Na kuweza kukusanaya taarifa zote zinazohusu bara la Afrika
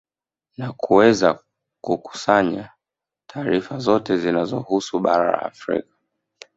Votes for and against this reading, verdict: 4, 2, accepted